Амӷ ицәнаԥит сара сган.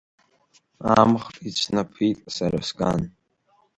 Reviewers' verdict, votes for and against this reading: accepted, 2, 0